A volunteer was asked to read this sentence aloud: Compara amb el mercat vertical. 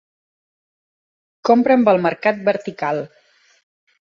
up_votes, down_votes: 0, 2